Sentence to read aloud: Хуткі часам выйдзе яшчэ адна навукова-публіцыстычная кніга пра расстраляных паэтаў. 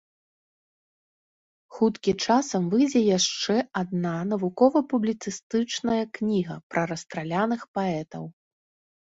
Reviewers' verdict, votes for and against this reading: accepted, 2, 0